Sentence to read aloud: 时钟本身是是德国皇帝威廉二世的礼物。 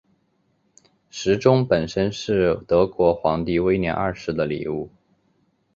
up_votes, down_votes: 4, 0